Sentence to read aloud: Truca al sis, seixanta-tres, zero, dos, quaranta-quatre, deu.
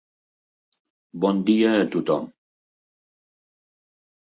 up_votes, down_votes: 1, 2